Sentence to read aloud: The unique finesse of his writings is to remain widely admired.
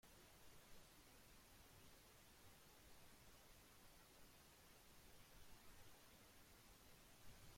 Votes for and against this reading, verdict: 0, 2, rejected